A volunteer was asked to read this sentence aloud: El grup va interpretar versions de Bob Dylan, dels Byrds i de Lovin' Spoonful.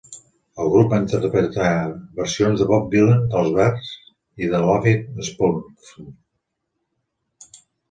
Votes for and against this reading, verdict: 0, 3, rejected